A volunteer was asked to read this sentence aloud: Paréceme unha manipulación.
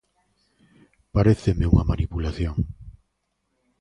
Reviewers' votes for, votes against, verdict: 2, 0, accepted